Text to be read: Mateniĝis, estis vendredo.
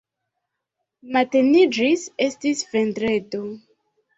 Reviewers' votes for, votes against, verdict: 2, 0, accepted